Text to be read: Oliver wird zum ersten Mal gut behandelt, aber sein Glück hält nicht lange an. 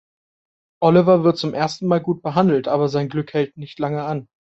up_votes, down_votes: 2, 0